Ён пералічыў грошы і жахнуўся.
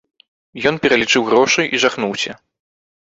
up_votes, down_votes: 2, 0